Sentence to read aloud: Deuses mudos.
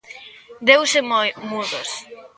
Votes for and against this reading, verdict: 0, 2, rejected